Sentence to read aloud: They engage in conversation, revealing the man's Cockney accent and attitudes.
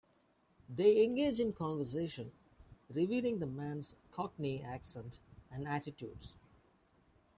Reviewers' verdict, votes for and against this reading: accepted, 2, 0